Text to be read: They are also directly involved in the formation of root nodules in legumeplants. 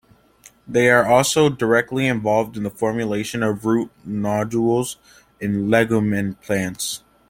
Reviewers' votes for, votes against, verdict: 1, 2, rejected